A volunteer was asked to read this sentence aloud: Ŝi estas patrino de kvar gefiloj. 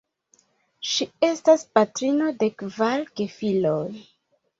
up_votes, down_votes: 1, 2